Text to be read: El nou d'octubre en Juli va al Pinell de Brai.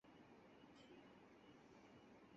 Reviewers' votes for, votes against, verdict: 0, 4, rejected